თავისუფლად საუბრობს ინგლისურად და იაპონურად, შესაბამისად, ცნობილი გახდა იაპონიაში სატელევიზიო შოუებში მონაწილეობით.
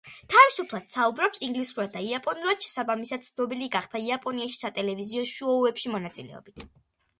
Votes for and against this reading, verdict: 2, 0, accepted